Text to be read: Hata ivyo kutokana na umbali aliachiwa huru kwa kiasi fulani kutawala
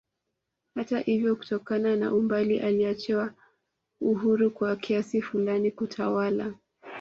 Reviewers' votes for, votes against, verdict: 0, 2, rejected